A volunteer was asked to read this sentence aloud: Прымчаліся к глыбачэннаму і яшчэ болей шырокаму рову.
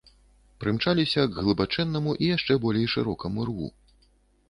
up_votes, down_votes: 0, 2